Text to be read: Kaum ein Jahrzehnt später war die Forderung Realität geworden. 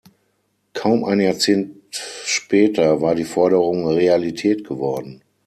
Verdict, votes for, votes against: rejected, 3, 6